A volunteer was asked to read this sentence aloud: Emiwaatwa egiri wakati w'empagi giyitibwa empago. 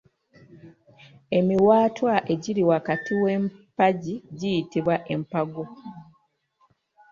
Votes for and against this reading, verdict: 3, 0, accepted